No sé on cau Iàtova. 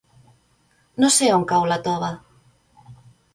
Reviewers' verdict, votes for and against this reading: rejected, 1, 2